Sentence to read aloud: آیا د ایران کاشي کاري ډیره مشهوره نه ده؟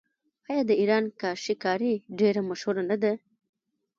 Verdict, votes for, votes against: rejected, 1, 2